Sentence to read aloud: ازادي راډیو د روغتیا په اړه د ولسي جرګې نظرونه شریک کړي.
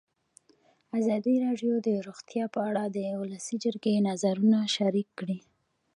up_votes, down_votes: 0, 2